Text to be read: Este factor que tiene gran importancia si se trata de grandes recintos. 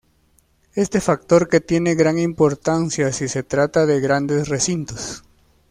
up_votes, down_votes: 0, 2